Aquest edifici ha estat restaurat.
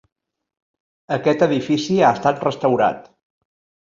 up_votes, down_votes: 3, 0